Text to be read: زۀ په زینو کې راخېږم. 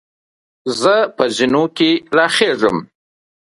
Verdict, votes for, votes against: rejected, 0, 2